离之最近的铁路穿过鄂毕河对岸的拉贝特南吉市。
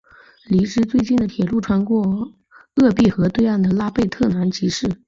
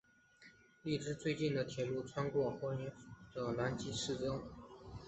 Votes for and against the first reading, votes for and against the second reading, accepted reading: 2, 0, 0, 2, first